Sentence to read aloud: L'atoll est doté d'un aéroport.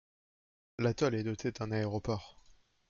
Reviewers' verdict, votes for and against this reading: rejected, 1, 2